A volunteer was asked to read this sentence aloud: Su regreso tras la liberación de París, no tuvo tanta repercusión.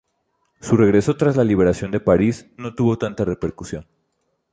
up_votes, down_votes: 2, 0